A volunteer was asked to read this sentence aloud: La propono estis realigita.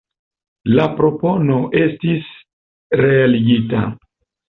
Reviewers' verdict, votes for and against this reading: accepted, 2, 0